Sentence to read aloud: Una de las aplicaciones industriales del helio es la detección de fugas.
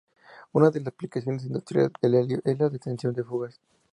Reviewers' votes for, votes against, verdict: 2, 0, accepted